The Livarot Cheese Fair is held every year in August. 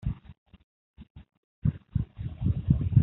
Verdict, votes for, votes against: rejected, 0, 2